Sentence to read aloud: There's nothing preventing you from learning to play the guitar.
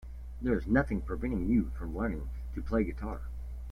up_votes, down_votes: 2, 0